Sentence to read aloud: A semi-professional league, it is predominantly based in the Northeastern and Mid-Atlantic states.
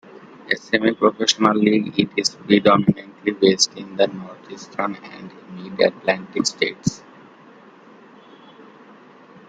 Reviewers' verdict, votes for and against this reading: accepted, 2, 1